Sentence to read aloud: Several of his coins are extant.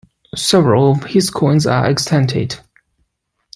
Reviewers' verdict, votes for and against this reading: rejected, 0, 2